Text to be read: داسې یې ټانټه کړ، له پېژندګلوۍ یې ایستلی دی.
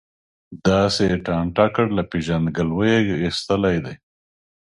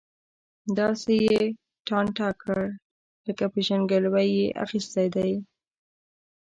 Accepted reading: first